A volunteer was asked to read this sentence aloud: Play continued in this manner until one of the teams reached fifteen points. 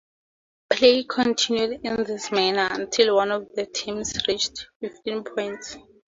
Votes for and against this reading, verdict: 2, 0, accepted